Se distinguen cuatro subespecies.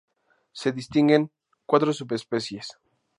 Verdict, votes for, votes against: accepted, 2, 0